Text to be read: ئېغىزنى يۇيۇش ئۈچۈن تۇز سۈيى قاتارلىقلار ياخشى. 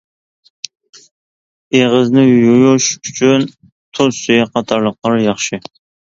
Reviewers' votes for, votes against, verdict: 2, 1, accepted